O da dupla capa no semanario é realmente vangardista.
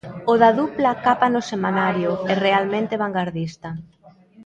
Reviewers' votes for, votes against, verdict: 2, 0, accepted